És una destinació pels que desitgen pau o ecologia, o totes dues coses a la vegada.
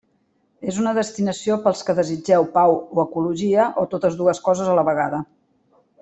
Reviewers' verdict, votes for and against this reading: rejected, 0, 2